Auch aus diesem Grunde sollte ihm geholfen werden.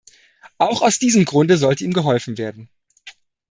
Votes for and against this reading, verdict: 2, 0, accepted